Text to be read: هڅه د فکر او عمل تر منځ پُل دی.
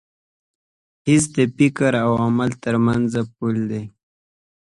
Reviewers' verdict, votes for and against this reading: rejected, 1, 2